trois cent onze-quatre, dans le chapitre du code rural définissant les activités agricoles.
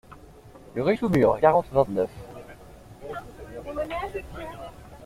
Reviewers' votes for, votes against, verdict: 0, 2, rejected